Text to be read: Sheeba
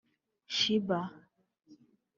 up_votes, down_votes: 1, 2